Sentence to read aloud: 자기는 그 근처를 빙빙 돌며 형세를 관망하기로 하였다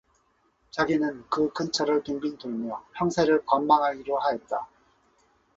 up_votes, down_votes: 4, 0